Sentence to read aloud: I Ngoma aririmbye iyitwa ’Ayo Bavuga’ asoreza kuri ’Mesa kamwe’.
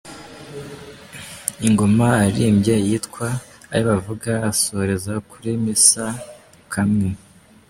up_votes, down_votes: 1, 2